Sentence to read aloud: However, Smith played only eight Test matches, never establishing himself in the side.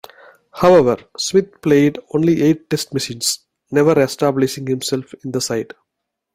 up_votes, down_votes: 1, 2